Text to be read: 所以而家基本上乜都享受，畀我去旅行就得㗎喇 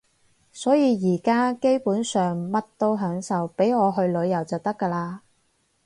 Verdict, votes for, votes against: rejected, 2, 2